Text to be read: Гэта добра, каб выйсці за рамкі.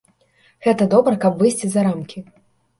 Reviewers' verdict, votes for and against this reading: accepted, 2, 0